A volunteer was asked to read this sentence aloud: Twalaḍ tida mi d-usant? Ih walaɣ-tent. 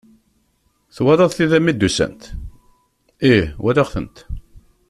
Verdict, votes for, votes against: accepted, 2, 0